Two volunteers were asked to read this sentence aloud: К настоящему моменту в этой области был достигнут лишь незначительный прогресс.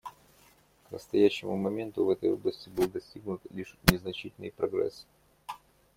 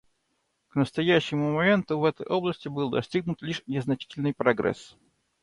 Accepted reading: second